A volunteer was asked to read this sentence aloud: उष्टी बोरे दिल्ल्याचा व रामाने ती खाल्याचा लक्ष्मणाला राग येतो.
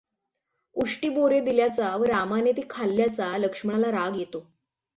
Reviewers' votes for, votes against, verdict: 6, 0, accepted